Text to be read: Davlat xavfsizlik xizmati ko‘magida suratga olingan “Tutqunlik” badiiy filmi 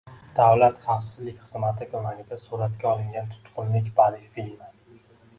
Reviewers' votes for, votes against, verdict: 2, 0, accepted